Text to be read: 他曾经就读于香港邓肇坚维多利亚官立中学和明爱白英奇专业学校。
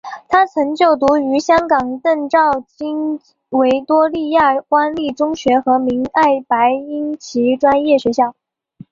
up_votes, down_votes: 3, 0